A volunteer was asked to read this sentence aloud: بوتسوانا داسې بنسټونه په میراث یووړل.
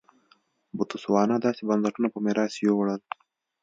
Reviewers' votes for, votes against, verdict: 2, 0, accepted